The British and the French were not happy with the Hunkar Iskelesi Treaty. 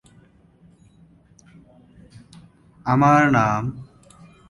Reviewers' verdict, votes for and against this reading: rejected, 0, 2